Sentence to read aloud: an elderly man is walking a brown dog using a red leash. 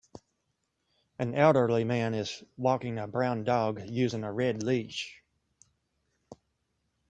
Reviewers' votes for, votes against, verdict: 2, 0, accepted